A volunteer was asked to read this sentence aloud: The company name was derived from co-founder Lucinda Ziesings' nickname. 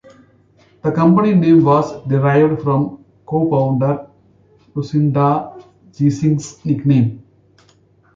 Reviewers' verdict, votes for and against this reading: accepted, 2, 0